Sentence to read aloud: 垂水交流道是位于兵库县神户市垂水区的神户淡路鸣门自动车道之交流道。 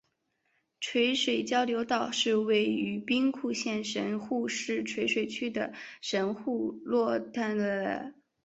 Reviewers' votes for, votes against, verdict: 0, 2, rejected